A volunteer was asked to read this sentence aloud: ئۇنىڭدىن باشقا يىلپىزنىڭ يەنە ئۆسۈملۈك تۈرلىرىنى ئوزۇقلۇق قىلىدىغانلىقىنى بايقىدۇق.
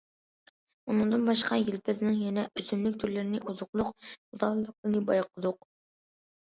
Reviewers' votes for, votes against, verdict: 2, 0, accepted